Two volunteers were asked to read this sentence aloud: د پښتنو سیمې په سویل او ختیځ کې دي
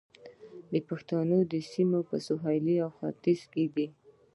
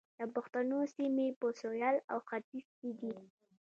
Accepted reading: first